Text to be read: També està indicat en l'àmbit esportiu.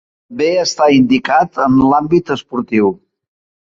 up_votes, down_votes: 0, 2